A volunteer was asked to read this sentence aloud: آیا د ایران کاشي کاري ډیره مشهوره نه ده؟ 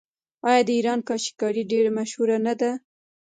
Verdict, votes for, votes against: accepted, 3, 0